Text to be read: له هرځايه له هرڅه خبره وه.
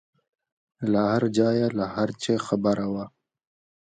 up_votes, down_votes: 2, 1